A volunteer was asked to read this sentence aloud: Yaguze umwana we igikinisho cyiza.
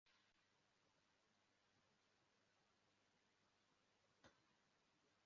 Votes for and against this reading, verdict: 0, 2, rejected